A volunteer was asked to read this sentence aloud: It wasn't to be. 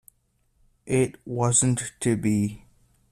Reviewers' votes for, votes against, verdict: 2, 0, accepted